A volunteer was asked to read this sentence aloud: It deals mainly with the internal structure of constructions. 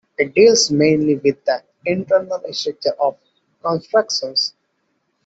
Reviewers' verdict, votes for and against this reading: rejected, 0, 2